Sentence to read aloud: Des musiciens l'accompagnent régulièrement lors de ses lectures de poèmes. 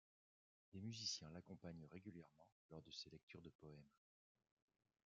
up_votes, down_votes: 0, 2